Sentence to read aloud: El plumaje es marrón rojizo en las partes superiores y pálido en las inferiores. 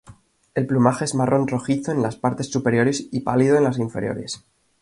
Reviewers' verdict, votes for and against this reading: accepted, 2, 0